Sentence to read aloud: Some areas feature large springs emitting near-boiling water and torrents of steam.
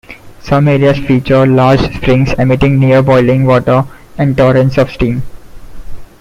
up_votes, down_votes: 2, 0